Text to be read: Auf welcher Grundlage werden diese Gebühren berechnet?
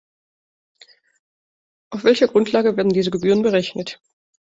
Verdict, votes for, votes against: accepted, 2, 1